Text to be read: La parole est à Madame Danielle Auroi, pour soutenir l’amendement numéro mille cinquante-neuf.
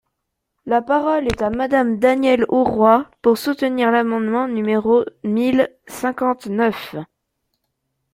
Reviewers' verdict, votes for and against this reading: accepted, 2, 0